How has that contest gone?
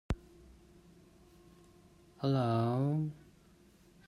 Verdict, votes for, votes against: rejected, 0, 2